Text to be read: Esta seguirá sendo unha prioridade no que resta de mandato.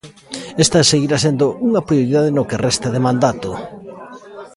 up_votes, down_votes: 1, 2